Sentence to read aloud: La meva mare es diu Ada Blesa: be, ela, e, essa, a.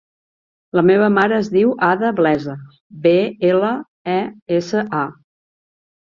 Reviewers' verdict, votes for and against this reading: accepted, 3, 0